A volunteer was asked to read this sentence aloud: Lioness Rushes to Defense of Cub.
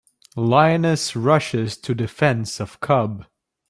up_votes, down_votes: 3, 0